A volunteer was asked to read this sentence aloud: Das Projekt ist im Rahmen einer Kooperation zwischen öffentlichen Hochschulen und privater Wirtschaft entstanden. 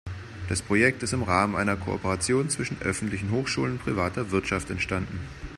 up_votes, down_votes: 1, 2